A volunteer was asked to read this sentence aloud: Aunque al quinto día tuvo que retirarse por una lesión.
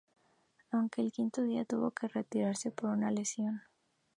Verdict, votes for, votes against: accepted, 2, 0